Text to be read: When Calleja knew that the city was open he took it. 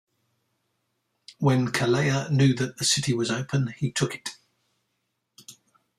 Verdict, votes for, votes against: accepted, 2, 0